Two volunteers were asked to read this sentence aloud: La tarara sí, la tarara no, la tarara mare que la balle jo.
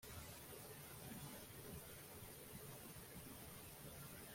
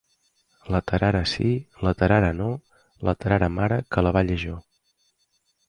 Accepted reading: second